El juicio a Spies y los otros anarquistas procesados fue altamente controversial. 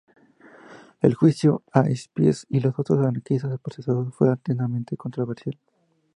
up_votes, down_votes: 0, 2